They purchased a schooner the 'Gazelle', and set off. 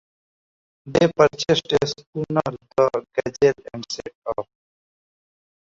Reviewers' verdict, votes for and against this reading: rejected, 1, 2